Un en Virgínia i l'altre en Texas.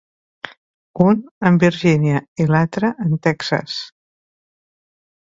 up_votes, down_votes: 2, 0